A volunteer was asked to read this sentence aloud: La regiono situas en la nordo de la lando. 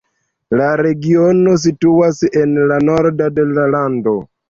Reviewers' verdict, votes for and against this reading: accepted, 2, 1